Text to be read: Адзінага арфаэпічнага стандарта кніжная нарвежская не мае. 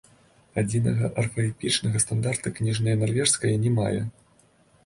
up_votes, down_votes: 1, 3